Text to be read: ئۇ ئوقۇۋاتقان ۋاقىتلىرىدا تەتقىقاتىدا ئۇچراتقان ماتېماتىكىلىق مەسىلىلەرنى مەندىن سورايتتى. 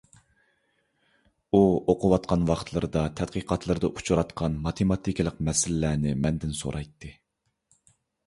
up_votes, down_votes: 2, 0